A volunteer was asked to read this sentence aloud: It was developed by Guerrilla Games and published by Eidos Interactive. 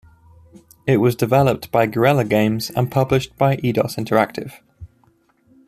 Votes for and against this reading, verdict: 2, 0, accepted